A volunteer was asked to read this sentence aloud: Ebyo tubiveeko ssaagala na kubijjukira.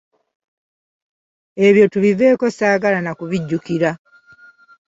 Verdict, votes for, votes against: accepted, 2, 0